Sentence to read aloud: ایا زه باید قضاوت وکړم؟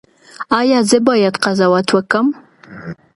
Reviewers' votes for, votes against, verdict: 2, 0, accepted